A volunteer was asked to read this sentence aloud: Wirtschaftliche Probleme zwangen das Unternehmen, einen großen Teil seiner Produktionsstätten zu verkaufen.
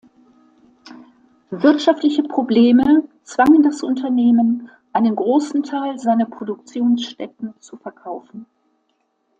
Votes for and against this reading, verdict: 2, 0, accepted